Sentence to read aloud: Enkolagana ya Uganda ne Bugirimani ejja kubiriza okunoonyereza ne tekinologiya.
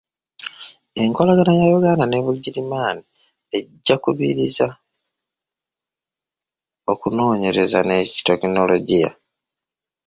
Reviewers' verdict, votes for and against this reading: rejected, 1, 2